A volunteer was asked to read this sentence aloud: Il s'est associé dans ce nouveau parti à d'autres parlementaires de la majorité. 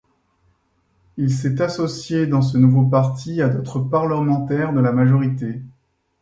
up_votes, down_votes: 1, 2